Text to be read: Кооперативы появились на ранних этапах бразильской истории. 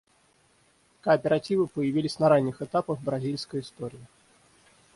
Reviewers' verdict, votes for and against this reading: rejected, 3, 3